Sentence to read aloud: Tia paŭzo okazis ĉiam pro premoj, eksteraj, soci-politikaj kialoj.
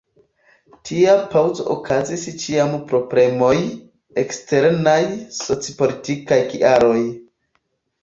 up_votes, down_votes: 0, 2